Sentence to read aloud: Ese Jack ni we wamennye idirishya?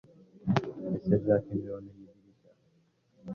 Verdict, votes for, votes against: rejected, 1, 2